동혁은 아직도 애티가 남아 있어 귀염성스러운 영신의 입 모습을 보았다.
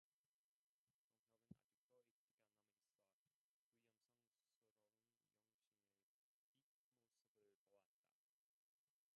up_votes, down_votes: 0, 2